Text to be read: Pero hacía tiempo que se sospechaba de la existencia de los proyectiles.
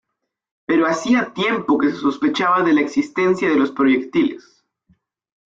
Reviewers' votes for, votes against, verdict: 0, 2, rejected